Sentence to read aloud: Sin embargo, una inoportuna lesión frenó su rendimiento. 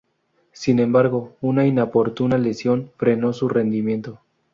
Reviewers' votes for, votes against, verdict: 0, 2, rejected